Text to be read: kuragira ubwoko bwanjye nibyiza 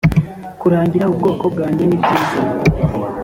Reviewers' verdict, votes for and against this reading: rejected, 1, 2